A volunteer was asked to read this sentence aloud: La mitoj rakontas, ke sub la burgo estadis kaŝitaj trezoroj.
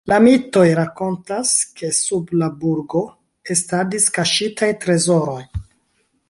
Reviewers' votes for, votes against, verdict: 2, 0, accepted